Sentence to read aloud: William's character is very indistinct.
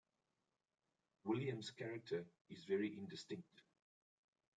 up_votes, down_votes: 2, 1